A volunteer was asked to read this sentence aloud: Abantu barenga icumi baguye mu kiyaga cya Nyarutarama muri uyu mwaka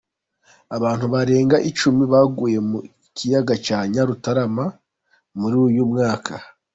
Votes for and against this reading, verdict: 2, 0, accepted